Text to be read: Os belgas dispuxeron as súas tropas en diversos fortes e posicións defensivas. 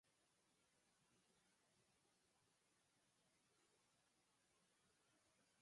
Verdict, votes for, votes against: rejected, 0, 6